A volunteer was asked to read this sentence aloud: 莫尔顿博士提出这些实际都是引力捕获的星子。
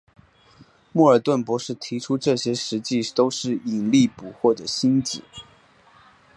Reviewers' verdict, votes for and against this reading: accepted, 3, 1